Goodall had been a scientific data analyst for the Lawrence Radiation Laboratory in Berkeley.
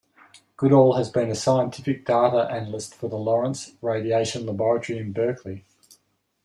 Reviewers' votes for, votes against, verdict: 2, 0, accepted